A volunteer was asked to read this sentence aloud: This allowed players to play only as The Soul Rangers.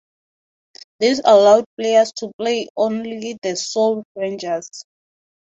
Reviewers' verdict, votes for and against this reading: accepted, 2, 0